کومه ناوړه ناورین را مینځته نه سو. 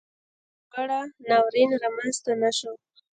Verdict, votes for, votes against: rejected, 1, 2